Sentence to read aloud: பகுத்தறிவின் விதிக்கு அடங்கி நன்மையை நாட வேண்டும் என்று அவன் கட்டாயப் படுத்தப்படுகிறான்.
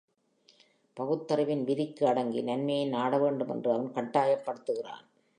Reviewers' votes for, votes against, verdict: 2, 1, accepted